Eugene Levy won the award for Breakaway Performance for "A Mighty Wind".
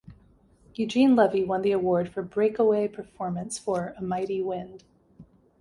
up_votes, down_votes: 2, 0